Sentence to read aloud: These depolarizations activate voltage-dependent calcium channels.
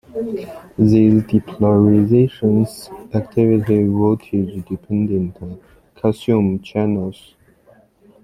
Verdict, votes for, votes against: rejected, 1, 2